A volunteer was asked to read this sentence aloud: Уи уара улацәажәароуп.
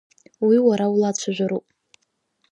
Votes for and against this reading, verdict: 2, 0, accepted